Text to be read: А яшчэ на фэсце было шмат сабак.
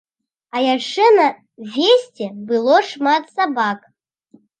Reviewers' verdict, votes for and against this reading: rejected, 1, 2